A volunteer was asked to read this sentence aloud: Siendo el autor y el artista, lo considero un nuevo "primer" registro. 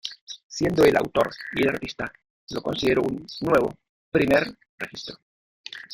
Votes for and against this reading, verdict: 0, 2, rejected